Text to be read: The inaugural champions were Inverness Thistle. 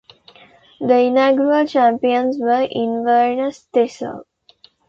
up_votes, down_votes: 2, 0